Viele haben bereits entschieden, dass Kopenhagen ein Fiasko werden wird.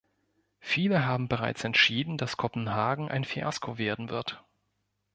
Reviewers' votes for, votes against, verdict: 2, 0, accepted